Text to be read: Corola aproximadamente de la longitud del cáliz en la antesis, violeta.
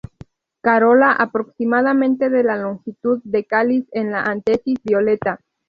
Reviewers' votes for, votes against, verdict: 0, 2, rejected